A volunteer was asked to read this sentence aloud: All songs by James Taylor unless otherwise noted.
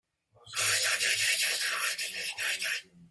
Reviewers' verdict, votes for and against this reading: rejected, 0, 2